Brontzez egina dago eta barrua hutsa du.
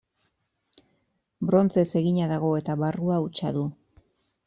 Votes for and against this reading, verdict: 2, 0, accepted